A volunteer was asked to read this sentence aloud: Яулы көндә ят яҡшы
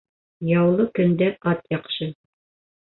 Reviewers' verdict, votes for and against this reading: rejected, 0, 2